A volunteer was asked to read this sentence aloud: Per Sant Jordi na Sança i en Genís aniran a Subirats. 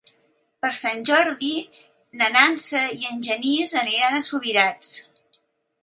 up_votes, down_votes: 1, 3